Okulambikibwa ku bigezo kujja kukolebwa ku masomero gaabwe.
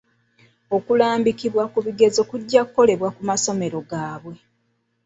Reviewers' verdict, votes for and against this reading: accepted, 2, 1